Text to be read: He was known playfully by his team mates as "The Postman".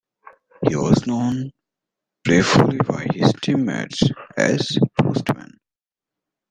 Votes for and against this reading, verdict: 1, 2, rejected